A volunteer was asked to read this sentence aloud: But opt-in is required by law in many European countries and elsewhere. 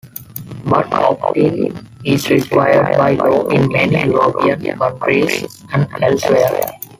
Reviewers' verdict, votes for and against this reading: rejected, 1, 2